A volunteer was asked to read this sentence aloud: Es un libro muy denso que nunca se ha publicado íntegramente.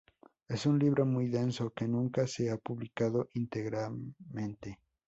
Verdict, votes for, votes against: accepted, 2, 0